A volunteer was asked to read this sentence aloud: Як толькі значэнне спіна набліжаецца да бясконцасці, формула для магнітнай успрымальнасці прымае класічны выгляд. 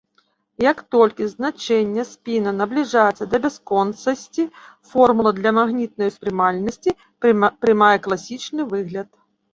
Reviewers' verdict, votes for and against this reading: rejected, 1, 2